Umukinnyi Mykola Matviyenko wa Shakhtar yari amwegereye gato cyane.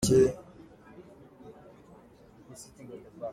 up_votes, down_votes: 0, 2